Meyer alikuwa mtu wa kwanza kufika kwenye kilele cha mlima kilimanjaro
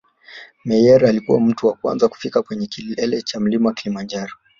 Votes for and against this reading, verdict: 2, 1, accepted